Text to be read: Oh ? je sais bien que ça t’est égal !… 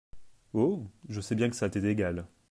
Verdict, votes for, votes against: accepted, 2, 0